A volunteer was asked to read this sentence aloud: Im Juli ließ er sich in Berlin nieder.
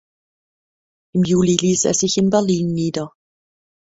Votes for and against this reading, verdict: 0, 2, rejected